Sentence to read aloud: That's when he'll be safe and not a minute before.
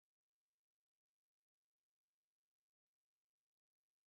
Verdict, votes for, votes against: rejected, 0, 2